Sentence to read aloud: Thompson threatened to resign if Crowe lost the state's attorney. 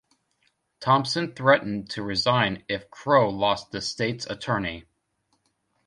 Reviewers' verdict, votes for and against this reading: accepted, 2, 0